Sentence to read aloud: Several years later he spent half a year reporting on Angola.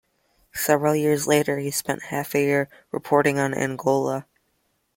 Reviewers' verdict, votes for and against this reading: accepted, 2, 0